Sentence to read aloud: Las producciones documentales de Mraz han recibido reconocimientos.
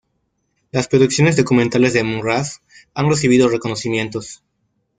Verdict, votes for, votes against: accepted, 2, 0